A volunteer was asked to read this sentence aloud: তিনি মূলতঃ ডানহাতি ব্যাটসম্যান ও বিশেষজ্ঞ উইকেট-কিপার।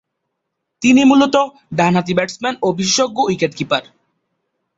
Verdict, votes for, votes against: accepted, 2, 1